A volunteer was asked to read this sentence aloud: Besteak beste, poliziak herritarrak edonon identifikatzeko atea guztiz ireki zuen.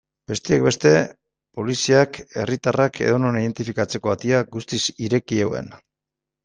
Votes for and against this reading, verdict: 1, 2, rejected